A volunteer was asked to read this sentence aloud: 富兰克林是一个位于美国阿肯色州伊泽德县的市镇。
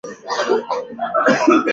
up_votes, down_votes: 1, 2